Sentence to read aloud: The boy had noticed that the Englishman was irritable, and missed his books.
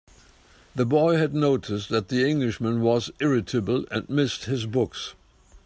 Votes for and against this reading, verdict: 2, 0, accepted